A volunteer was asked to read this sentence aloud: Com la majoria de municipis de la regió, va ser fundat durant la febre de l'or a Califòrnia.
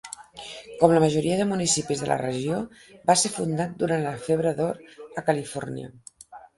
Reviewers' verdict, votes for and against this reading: accepted, 5, 3